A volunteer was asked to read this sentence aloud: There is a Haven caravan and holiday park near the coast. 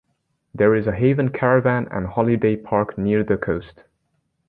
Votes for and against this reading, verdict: 2, 0, accepted